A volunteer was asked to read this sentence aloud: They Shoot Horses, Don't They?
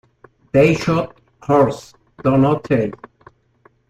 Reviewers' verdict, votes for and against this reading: accepted, 3, 2